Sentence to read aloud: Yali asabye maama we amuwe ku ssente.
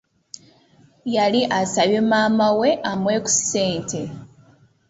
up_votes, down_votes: 2, 0